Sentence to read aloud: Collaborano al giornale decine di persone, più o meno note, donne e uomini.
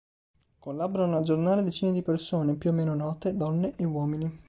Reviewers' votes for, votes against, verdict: 2, 0, accepted